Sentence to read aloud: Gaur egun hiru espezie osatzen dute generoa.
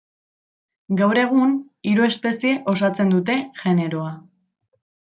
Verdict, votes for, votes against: rejected, 1, 2